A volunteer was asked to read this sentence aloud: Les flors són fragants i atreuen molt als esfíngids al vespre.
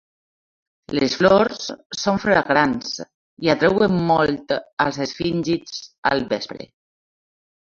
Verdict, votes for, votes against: accepted, 2, 0